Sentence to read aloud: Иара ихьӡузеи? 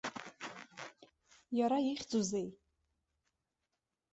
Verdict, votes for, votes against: rejected, 0, 2